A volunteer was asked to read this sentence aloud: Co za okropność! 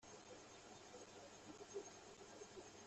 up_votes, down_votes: 0, 2